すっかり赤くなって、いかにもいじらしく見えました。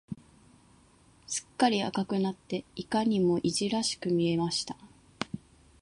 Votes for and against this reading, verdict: 2, 0, accepted